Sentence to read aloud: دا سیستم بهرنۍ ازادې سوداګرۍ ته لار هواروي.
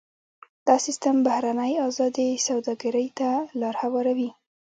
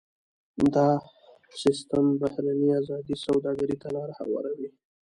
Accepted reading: first